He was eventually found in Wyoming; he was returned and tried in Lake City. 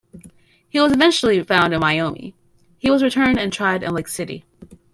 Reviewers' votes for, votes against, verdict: 2, 0, accepted